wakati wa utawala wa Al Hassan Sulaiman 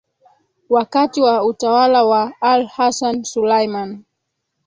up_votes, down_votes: 1, 2